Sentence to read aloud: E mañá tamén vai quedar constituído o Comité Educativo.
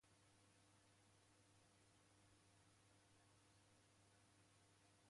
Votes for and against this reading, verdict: 0, 2, rejected